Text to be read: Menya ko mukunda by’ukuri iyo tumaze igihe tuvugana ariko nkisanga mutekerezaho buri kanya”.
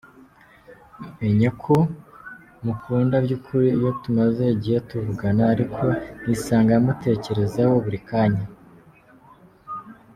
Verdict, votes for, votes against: accepted, 2, 0